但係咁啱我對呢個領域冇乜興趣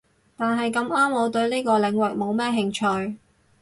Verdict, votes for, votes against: rejected, 0, 4